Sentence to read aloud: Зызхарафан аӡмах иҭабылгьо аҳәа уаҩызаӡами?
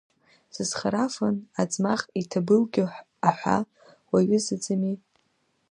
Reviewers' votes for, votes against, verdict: 2, 1, accepted